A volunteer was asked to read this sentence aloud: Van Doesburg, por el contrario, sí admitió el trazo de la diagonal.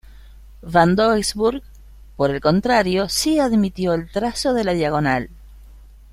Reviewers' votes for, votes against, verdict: 2, 0, accepted